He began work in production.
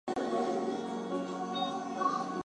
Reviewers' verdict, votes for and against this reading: rejected, 0, 4